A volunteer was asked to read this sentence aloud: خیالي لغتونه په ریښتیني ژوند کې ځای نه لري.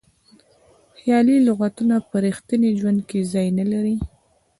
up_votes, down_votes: 2, 0